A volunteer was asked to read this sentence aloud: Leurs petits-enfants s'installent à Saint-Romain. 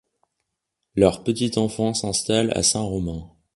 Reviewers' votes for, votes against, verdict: 1, 2, rejected